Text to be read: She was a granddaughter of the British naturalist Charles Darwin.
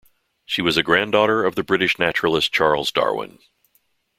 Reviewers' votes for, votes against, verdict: 2, 0, accepted